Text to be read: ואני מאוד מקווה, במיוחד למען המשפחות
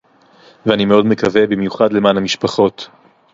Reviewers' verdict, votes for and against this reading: accepted, 4, 0